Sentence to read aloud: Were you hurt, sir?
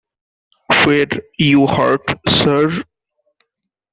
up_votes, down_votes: 1, 2